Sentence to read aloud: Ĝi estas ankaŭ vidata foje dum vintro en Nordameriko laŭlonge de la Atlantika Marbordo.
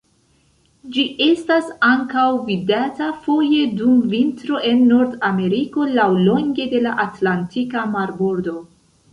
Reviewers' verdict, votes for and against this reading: accepted, 2, 0